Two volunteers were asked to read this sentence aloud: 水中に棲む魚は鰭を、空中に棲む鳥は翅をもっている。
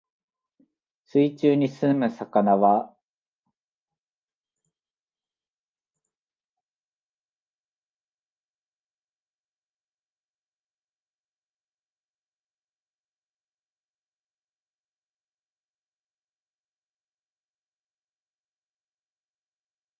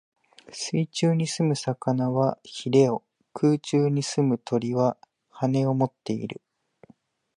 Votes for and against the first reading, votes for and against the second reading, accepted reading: 0, 2, 2, 0, second